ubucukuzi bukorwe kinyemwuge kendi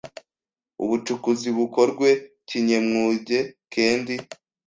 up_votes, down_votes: 1, 2